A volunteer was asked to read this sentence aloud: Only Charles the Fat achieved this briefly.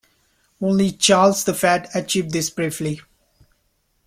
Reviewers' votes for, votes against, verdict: 2, 0, accepted